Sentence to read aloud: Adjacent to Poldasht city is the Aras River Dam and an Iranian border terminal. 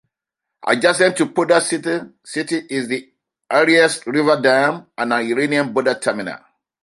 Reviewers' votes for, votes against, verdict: 2, 1, accepted